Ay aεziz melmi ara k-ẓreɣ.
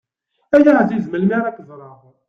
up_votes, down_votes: 2, 0